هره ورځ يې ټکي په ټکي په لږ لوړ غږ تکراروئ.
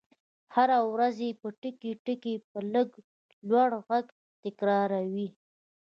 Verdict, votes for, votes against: accepted, 2, 1